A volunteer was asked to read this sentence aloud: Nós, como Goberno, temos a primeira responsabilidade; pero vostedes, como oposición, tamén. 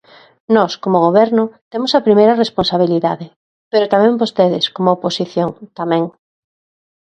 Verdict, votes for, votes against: rejected, 0, 2